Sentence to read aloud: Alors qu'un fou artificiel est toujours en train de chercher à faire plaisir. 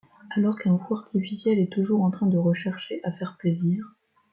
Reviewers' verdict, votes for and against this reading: rejected, 1, 2